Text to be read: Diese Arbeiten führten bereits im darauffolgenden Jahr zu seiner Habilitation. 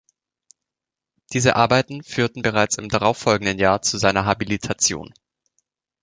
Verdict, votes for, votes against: accepted, 2, 0